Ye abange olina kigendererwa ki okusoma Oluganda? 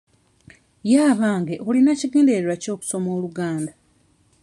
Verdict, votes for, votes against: accepted, 2, 0